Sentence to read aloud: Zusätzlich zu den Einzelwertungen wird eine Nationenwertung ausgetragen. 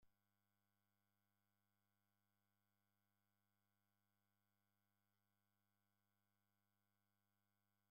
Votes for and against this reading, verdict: 0, 2, rejected